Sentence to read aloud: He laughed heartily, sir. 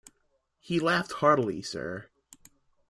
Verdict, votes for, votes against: accepted, 2, 0